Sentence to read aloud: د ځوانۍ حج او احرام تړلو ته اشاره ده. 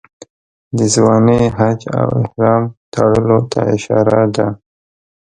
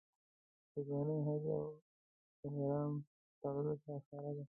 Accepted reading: first